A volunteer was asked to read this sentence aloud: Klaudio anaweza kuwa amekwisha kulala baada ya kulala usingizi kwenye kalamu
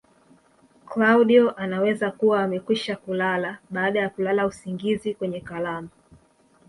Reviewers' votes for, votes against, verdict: 1, 2, rejected